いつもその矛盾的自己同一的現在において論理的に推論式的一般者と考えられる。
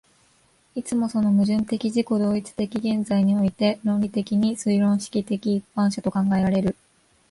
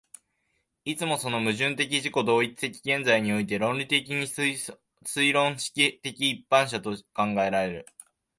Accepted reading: first